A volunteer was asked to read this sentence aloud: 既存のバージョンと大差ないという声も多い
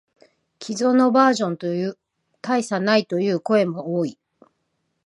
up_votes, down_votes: 0, 3